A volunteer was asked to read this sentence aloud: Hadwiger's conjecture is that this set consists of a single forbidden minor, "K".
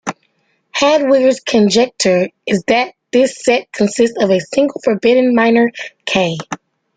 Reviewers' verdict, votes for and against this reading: accepted, 2, 1